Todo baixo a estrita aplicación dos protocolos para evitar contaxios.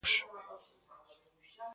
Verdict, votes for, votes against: rejected, 0, 2